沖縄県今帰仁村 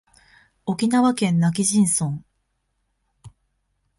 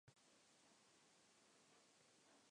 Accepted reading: first